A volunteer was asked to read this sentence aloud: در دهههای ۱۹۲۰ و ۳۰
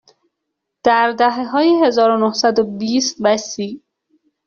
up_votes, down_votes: 0, 2